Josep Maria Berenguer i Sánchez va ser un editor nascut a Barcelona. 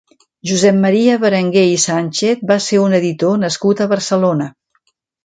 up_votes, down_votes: 3, 0